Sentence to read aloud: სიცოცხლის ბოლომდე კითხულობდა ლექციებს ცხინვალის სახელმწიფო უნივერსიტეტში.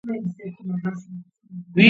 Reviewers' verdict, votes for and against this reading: rejected, 0, 2